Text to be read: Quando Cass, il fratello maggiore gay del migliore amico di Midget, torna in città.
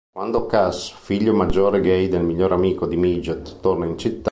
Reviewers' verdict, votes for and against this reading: rejected, 0, 2